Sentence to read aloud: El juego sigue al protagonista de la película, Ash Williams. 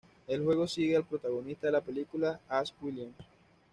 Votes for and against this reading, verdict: 2, 0, accepted